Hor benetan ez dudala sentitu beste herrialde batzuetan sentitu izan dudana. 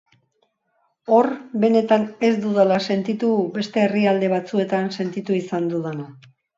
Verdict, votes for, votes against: accepted, 4, 0